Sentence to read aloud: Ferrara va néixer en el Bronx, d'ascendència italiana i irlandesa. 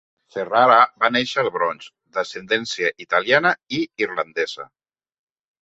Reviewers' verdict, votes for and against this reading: rejected, 0, 2